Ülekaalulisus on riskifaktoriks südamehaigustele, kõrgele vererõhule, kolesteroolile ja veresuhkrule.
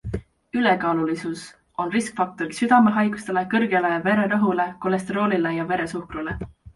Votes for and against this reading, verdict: 2, 1, accepted